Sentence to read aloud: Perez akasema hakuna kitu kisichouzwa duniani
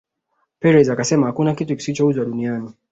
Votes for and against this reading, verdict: 2, 0, accepted